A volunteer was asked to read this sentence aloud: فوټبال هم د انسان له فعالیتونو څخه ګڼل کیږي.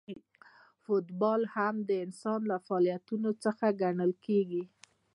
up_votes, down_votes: 2, 0